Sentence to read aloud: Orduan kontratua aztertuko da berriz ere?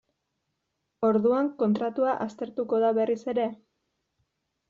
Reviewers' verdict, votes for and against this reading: accepted, 2, 0